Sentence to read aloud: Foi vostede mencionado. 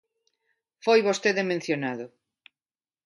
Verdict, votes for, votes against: accepted, 2, 0